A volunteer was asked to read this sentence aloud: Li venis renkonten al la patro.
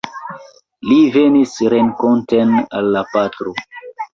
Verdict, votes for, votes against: accepted, 2, 1